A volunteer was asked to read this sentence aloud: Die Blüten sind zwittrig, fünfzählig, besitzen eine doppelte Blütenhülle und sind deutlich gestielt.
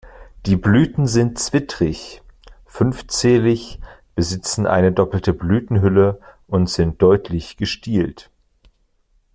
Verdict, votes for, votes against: accepted, 2, 0